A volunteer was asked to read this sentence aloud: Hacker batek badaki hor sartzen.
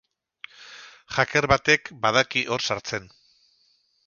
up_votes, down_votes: 0, 2